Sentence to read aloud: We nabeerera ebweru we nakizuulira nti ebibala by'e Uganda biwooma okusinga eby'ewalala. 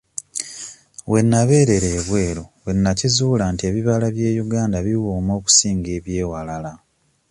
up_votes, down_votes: 2, 0